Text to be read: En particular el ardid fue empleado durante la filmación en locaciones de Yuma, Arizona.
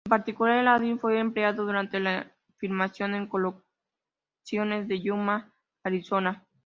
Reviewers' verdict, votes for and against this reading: rejected, 0, 3